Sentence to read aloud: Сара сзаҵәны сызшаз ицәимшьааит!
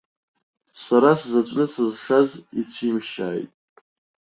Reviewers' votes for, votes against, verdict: 0, 2, rejected